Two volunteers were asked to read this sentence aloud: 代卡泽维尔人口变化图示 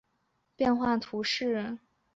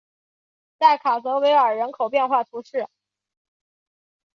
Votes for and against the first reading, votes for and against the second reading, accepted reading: 0, 2, 2, 0, second